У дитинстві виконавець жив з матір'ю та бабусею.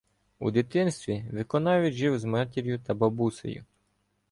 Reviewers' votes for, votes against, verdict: 1, 2, rejected